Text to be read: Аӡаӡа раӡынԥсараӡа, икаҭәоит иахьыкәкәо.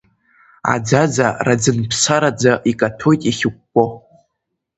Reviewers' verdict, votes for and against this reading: accepted, 2, 0